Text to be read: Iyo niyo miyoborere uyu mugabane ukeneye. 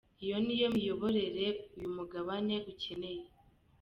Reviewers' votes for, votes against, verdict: 2, 0, accepted